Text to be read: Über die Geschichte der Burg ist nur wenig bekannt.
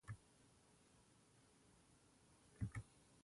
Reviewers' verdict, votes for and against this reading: rejected, 0, 2